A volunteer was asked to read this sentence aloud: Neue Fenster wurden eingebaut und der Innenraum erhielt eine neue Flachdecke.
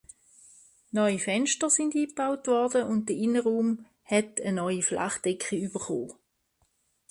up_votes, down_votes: 0, 2